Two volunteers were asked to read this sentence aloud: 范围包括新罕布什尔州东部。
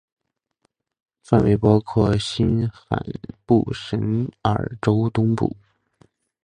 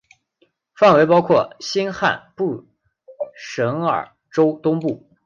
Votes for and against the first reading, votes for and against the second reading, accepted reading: 3, 0, 0, 2, first